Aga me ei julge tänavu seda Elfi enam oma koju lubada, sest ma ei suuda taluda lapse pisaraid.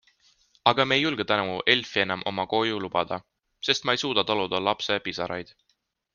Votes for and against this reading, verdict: 1, 2, rejected